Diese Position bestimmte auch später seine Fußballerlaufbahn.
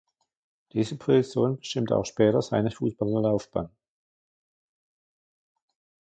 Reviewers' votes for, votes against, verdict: 1, 2, rejected